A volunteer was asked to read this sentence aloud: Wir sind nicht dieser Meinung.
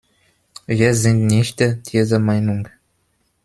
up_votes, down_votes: 0, 2